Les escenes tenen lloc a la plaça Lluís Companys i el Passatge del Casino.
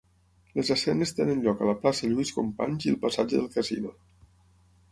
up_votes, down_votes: 6, 0